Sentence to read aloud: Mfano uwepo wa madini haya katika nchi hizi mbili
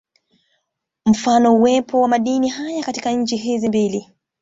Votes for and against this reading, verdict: 2, 1, accepted